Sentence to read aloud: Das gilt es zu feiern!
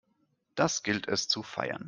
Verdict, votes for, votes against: accepted, 2, 0